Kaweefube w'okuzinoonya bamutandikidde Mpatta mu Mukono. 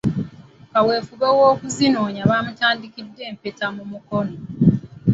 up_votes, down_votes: 0, 2